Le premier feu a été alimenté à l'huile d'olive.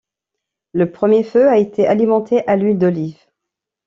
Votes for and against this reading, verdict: 2, 0, accepted